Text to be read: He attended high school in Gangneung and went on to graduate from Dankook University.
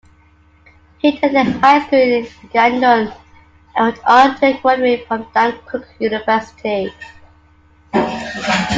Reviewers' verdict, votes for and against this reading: accepted, 2, 1